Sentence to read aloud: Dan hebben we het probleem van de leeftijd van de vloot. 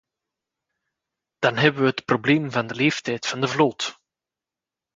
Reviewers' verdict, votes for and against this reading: accepted, 2, 0